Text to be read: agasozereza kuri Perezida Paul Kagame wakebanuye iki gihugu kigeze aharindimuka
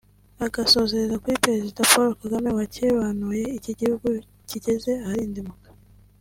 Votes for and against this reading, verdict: 2, 1, accepted